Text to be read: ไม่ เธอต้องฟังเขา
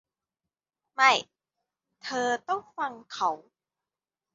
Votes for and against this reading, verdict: 1, 2, rejected